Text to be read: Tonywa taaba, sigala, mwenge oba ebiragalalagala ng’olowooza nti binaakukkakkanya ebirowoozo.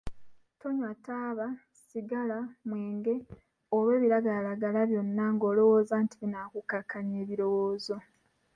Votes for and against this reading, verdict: 2, 1, accepted